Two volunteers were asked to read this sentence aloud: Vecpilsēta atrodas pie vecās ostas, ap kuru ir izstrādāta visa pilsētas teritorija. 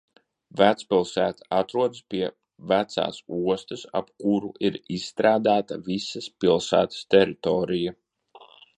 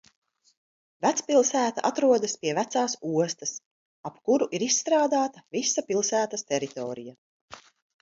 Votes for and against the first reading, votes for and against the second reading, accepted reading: 1, 2, 2, 0, second